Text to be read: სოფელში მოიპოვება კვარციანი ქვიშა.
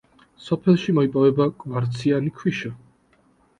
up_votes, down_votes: 2, 0